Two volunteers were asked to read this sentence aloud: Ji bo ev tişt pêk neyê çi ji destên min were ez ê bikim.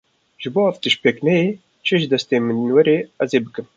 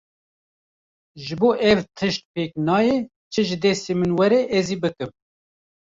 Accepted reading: first